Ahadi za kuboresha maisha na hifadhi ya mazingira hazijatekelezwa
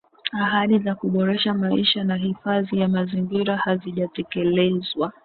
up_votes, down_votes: 2, 0